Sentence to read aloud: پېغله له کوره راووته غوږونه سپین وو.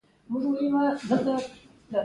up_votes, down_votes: 2, 0